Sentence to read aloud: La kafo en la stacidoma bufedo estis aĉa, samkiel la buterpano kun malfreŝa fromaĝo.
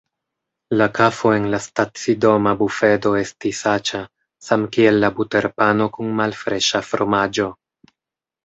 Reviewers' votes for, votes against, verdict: 2, 0, accepted